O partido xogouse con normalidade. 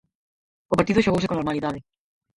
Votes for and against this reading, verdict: 0, 4, rejected